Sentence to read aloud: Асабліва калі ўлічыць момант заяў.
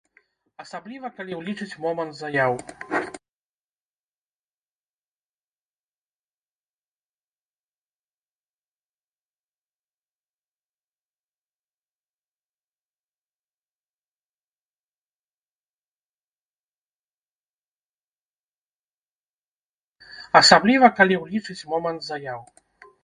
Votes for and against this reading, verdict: 0, 2, rejected